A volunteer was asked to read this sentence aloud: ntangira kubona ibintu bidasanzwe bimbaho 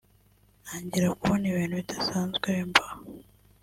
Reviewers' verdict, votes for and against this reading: rejected, 0, 2